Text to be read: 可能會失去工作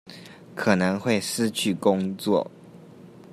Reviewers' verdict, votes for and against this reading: rejected, 1, 2